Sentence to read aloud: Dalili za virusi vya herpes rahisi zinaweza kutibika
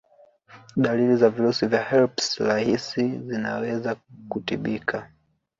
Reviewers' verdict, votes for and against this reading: accepted, 2, 1